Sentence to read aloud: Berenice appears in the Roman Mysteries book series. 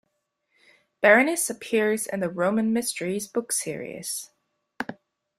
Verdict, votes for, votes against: accepted, 2, 0